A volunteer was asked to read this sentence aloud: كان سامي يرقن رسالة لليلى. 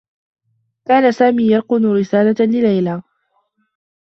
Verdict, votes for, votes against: accepted, 2, 1